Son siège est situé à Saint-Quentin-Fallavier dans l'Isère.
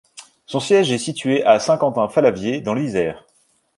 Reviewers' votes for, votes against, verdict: 2, 0, accepted